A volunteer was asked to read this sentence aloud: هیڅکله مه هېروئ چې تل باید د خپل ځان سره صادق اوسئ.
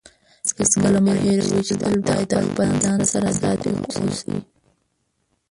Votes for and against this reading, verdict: 0, 2, rejected